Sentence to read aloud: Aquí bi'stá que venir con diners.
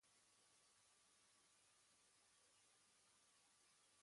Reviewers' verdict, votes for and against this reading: rejected, 1, 2